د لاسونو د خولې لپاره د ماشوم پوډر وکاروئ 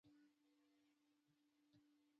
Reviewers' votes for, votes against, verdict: 0, 2, rejected